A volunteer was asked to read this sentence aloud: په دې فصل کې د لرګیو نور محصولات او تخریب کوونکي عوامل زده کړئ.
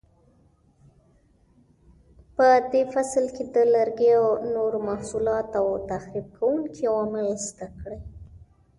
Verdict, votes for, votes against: accepted, 2, 0